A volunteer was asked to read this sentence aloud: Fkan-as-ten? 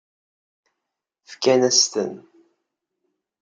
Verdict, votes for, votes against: accepted, 2, 0